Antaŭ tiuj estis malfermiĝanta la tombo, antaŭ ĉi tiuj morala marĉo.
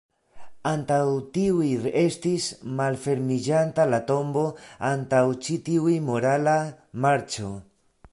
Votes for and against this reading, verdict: 1, 2, rejected